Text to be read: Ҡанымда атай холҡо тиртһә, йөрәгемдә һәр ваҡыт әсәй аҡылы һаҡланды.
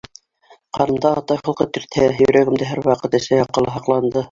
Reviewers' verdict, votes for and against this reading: rejected, 1, 3